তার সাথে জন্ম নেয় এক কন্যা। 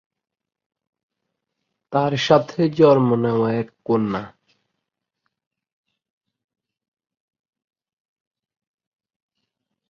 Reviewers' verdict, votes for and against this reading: rejected, 1, 4